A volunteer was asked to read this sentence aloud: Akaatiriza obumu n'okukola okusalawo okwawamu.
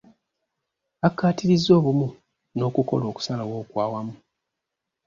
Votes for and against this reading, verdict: 2, 0, accepted